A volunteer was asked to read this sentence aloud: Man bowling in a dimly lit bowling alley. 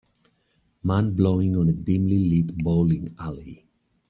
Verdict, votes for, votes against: rejected, 0, 2